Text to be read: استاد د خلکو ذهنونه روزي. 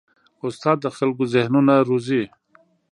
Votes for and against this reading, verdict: 2, 0, accepted